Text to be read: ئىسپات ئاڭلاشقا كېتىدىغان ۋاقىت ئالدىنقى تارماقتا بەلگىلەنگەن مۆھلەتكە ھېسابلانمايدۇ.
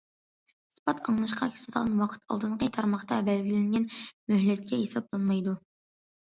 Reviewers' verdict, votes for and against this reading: rejected, 0, 2